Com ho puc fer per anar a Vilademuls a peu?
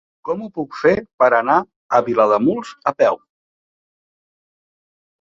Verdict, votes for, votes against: accepted, 4, 0